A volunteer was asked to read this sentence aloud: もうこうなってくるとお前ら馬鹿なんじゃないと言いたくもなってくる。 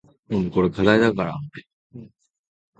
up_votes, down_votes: 0, 2